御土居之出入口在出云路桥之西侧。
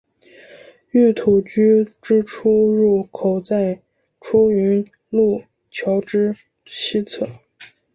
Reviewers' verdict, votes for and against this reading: accepted, 3, 0